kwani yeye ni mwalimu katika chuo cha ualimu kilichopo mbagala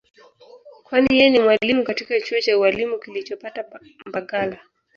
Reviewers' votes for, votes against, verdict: 2, 4, rejected